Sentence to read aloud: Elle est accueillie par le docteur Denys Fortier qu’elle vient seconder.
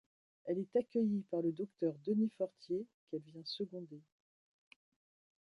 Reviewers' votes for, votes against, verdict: 0, 2, rejected